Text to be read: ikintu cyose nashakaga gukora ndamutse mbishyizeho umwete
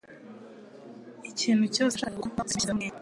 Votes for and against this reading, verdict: 1, 2, rejected